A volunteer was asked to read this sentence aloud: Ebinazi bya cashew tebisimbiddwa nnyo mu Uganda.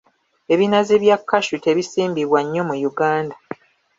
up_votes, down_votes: 2, 0